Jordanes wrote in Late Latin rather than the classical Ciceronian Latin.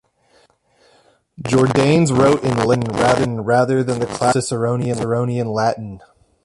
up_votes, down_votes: 0, 2